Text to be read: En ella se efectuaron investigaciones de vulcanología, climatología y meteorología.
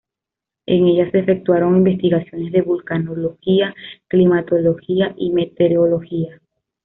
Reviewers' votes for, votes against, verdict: 0, 2, rejected